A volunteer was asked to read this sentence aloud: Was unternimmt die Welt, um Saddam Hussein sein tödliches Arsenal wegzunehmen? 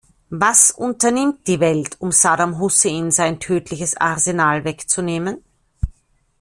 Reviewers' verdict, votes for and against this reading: accepted, 2, 0